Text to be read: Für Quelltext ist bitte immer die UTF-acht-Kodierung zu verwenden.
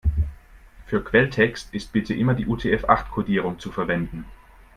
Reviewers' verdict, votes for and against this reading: accepted, 2, 0